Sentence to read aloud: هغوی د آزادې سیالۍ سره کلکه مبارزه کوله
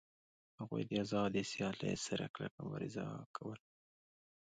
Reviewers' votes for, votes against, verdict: 2, 1, accepted